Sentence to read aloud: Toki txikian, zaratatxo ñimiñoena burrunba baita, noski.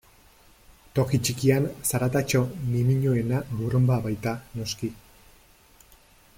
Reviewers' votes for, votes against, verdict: 2, 0, accepted